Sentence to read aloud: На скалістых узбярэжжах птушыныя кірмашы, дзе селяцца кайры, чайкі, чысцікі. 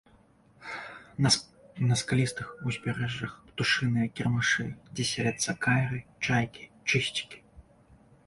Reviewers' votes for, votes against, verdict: 1, 2, rejected